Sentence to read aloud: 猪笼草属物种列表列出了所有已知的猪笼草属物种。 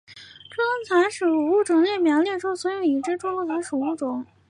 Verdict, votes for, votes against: accepted, 2, 0